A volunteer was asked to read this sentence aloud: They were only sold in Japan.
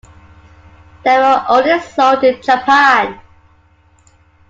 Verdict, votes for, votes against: accepted, 2, 0